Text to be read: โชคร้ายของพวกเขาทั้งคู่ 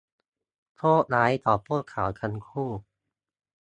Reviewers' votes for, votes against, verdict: 2, 0, accepted